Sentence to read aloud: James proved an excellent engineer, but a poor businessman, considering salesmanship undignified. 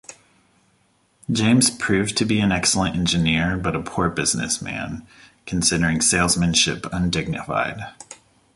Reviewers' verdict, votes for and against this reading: rejected, 1, 2